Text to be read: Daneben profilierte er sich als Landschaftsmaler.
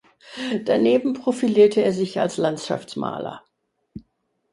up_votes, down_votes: 4, 0